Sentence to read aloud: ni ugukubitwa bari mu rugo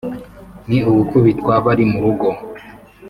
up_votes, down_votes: 2, 0